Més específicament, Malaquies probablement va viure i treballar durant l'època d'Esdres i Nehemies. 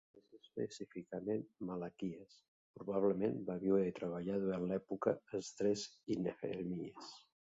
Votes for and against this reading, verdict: 2, 5, rejected